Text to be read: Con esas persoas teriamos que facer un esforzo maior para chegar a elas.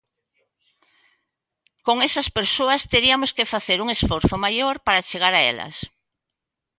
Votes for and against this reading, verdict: 0, 2, rejected